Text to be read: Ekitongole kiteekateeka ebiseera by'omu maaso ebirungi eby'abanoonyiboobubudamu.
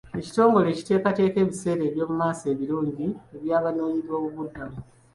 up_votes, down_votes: 1, 2